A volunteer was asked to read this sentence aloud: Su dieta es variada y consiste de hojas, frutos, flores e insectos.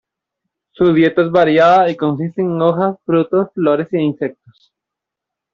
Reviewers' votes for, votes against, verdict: 1, 2, rejected